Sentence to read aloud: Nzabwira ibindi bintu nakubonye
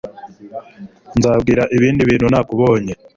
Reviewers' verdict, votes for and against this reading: accepted, 2, 0